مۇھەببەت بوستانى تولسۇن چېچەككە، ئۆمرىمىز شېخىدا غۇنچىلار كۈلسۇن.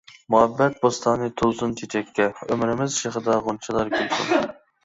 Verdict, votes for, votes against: rejected, 0, 2